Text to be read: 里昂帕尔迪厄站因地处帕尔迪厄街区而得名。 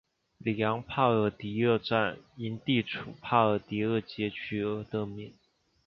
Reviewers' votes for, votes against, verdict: 2, 0, accepted